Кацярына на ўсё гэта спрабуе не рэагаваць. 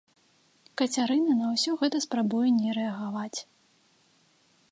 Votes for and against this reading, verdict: 2, 0, accepted